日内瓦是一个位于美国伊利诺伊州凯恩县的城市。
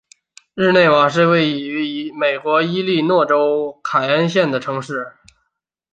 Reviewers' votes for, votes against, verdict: 1, 2, rejected